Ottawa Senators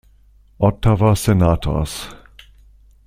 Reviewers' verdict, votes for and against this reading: accepted, 2, 0